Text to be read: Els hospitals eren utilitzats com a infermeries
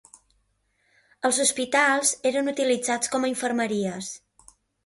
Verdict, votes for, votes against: accepted, 2, 0